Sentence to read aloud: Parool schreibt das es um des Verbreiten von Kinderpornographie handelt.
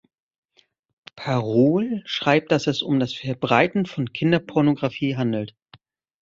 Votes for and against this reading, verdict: 1, 2, rejected